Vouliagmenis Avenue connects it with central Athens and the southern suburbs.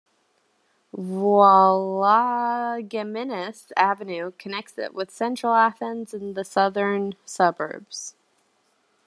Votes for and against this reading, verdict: 1, 2, rejected